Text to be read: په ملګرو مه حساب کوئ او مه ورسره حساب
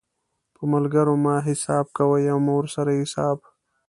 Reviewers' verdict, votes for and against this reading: accepted, 2, 0